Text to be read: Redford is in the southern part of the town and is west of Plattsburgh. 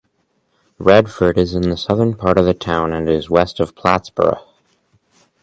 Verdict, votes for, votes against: accepted, 4, 2